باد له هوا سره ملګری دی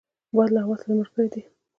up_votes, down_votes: 0, 2